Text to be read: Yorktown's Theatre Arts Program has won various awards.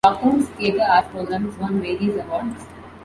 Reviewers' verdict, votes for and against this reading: rejected, 0, 2